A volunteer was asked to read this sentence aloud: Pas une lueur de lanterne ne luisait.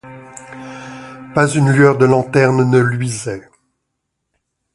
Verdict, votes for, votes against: accepted, 2, 0